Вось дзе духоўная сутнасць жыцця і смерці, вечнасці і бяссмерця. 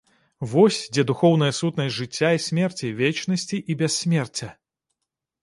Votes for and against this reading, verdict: 1, 2, rejected